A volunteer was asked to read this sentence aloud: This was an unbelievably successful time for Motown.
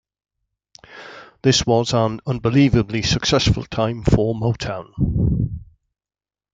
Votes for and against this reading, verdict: 2, 1, accepted